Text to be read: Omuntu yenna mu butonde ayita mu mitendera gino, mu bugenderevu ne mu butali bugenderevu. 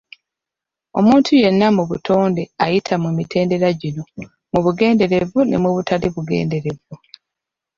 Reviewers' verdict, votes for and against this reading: accepted, 2, 0